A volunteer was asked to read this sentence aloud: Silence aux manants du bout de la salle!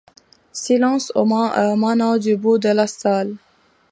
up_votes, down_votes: 1, 2